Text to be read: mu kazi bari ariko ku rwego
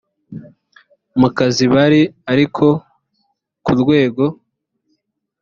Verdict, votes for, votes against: accepted, 2, 0